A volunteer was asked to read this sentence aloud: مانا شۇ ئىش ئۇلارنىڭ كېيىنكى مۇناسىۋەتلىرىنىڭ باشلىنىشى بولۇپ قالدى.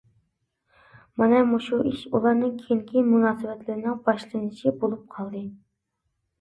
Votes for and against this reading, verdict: 1, 2, rejected